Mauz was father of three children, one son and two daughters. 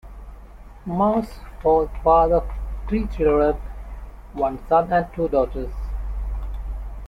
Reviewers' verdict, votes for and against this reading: rejected, 1, 2